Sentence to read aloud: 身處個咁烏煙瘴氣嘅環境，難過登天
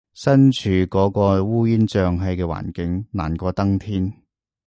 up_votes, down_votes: 0, 2